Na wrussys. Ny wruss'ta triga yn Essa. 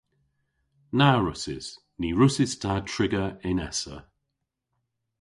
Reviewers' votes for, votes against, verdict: 1, 2, rejected